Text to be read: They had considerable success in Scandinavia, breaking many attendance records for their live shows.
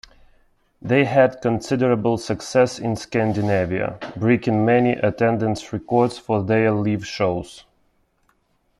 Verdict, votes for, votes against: rejected, 0, 2